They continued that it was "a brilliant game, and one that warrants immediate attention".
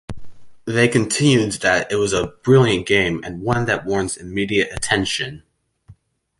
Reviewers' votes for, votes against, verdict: 2, 0, accepted